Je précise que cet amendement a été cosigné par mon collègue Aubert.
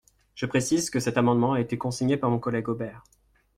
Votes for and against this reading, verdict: 1, 2, rejected